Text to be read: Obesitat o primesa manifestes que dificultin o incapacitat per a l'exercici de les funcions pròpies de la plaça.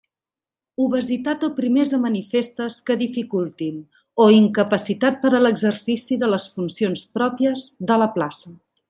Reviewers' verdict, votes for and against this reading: accepted, 2, 0